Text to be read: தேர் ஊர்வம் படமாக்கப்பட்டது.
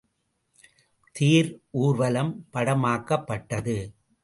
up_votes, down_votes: 0, 2